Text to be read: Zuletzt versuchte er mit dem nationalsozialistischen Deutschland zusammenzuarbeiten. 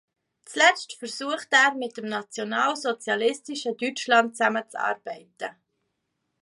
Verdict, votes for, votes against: accepted, 2, 0